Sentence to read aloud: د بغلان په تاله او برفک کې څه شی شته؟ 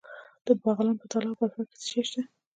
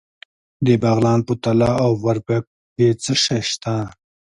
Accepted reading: second